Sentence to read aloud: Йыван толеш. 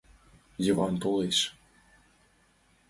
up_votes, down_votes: 5, 1